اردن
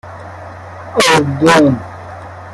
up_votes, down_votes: 1, 2